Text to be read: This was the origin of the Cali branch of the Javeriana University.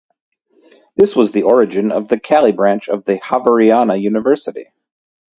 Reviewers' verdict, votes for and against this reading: accepted, 2, 0